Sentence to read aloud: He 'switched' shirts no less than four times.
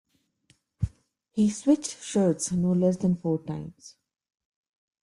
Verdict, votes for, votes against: accepted, 2, 0